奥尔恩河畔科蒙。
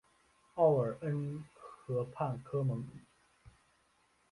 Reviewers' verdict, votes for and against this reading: accepted, 4, 1